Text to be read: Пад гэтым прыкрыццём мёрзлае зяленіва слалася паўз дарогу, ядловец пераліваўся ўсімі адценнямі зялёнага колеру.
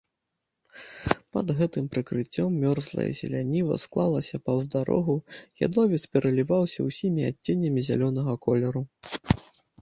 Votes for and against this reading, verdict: 1, 2, rejected